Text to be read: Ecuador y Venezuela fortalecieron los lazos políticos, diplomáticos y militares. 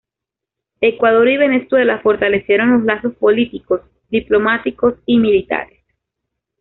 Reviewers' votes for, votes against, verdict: 2, 0, accepted